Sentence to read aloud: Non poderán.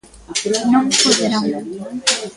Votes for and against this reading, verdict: 1, 2, rejected